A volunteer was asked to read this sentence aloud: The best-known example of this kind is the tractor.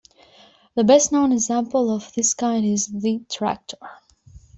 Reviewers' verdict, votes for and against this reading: accepted, 2, 0